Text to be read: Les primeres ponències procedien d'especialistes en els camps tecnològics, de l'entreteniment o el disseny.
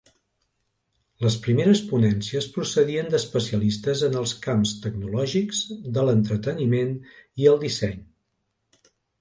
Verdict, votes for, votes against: rejected, 1, 2